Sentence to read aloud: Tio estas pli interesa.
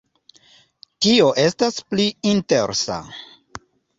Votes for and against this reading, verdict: 2, 0, accepted